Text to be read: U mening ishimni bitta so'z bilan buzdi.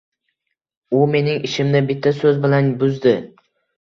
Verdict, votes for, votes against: accepted, 2, 0